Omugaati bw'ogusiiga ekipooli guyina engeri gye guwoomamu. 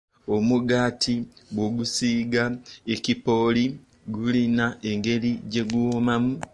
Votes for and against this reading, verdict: 1, 2, rejected